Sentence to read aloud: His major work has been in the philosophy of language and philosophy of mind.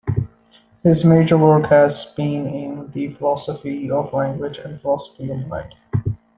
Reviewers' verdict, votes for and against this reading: accepted, 2, 0